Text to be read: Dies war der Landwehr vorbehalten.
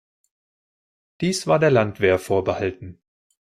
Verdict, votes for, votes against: accepted, 2, 0